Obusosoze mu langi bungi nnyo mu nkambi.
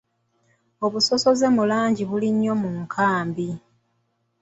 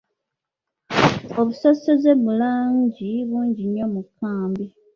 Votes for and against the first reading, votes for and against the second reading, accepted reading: 2, 0, 1, 2, first